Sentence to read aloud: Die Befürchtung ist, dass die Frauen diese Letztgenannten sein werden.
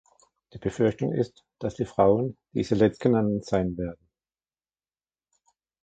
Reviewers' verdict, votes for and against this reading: accepted, 2, 0